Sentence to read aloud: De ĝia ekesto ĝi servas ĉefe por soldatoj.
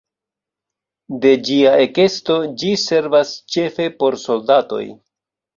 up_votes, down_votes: 1, 2